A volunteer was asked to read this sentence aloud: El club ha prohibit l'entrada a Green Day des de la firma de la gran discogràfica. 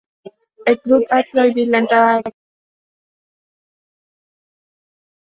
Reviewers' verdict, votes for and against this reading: rejected, 1, 2